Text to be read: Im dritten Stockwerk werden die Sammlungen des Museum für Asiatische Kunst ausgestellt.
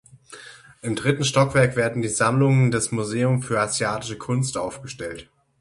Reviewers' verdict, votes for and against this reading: rejected, 0, 6